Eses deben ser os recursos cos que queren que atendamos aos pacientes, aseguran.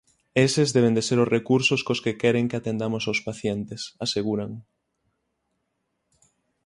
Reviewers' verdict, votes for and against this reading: rejected, 3, 6